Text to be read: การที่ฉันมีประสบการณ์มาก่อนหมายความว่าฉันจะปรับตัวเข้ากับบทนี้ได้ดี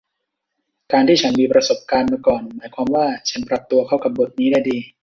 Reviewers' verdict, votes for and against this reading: rejected, 1, 2